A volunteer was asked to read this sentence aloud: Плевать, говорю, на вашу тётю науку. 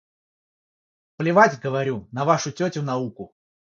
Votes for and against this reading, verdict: 3, 3, rejected